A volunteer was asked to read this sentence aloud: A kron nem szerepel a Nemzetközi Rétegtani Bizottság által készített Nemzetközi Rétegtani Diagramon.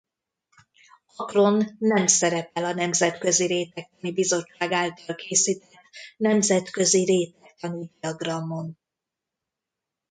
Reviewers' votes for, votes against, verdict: 1, 2, rejected